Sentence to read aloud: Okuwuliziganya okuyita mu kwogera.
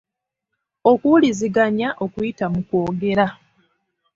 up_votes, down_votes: 2, 0